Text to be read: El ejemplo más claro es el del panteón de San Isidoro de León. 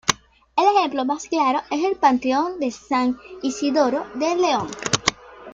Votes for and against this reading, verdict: 0, 2, rejected